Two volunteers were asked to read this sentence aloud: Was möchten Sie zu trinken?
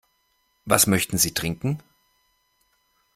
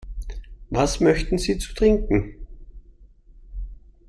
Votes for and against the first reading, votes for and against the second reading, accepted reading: 0, 2, 2, 0, second